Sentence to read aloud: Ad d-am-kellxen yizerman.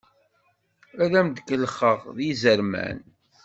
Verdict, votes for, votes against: rejected, 1, 2